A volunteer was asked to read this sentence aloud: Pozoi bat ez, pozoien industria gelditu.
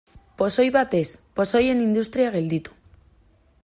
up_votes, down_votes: 2, 0